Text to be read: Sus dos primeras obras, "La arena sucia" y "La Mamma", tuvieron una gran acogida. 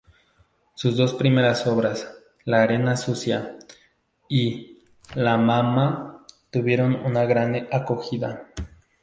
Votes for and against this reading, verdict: 0, 2, rejected